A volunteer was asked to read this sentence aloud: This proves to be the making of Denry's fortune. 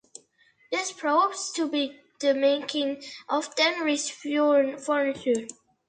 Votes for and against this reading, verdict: 0, 2, rejected